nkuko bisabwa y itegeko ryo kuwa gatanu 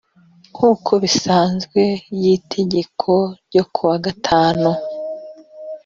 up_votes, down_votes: 1, 2